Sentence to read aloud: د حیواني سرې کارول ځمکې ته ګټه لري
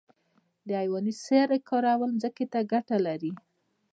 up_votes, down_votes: 1, 2